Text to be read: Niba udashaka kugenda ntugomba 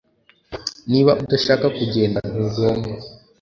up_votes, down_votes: 2, 0